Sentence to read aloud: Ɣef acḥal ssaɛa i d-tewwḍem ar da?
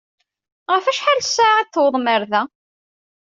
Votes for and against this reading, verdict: 2, 0, accepted